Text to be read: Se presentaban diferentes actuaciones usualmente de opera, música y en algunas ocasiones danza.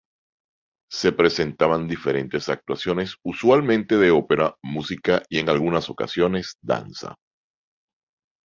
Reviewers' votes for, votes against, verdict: 4, 1, accepted